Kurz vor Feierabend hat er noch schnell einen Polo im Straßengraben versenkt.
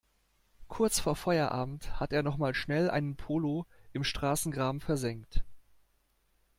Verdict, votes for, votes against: rejected, 1, 2